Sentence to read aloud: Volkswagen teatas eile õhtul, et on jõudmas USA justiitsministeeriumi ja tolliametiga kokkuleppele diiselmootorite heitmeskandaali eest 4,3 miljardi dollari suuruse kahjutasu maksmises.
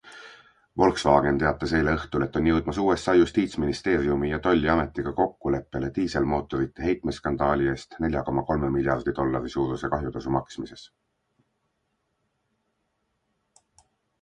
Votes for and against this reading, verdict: 0, 2, rejected